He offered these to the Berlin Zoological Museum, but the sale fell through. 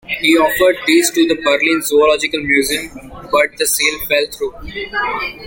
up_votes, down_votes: 0, 2